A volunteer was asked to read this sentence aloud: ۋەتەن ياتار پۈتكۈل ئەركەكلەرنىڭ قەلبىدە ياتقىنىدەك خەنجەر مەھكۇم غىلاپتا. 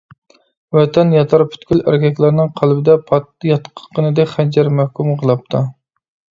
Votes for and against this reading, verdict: 0, 2, rejected